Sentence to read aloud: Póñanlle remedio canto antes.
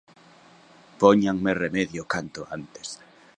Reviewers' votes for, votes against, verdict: 0, 2, rejected